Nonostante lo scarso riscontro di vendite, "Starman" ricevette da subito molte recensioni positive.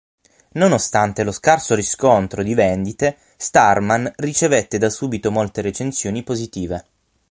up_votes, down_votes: 6, 0